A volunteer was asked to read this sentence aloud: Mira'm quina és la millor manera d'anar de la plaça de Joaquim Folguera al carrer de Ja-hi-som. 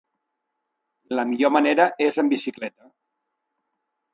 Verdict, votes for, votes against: rejected, 0, 3